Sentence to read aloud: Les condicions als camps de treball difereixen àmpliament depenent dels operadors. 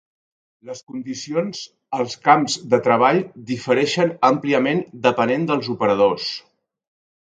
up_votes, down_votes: 5, 0